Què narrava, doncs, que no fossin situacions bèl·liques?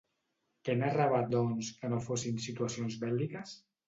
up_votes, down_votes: 2, 0